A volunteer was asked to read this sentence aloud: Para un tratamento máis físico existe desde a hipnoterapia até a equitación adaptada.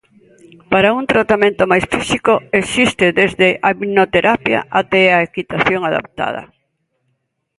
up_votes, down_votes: 1, 2